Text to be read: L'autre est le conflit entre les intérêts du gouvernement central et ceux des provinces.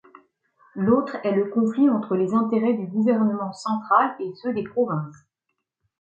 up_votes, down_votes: 2, 0